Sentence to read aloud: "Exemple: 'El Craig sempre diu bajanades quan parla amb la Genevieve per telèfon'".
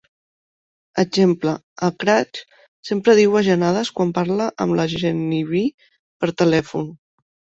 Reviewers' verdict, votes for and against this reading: rejected, 0, 2